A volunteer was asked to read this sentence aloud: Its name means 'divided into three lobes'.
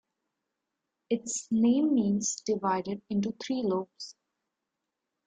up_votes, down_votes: 2, 0